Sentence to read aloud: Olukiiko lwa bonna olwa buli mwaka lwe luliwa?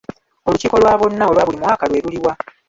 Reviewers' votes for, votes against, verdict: 2, 1, accepted